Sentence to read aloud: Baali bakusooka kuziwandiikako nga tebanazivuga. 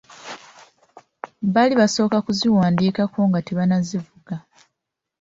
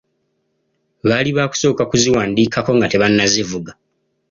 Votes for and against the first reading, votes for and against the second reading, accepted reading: 0, 2, 2, 0, second